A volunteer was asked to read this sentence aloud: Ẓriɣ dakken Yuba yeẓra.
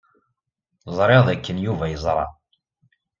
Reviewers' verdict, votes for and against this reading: accepted, 2, 0